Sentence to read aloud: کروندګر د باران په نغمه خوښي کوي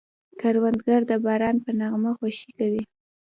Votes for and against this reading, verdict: 2, 0, accepted